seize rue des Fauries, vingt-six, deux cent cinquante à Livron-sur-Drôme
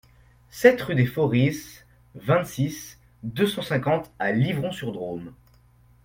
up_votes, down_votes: 0, 2